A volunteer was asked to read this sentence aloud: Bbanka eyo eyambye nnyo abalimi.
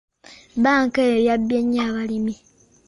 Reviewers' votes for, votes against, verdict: 2, 1, accepted